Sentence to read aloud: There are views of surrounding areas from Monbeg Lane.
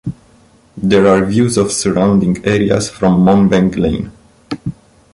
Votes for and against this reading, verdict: 2, 1, accepted